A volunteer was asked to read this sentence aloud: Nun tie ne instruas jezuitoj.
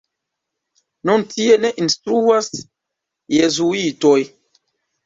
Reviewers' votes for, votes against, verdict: 2, 0, accepted